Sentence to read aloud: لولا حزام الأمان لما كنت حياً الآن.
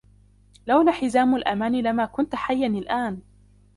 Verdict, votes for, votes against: rejected, 1, 2